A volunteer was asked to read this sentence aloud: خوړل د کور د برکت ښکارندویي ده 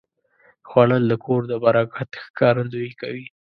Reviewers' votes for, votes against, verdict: 0, 2, rejected